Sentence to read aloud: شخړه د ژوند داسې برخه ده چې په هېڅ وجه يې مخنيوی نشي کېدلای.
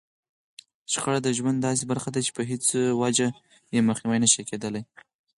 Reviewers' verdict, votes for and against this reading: accepted, 4, 0